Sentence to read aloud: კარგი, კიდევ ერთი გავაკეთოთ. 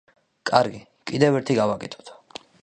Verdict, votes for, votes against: accepted, 3, 0